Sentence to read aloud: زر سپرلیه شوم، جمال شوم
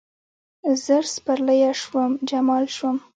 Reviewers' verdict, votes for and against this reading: rejected, 0, 2